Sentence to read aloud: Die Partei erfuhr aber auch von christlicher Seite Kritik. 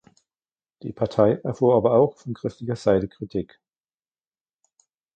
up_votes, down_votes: 1, 2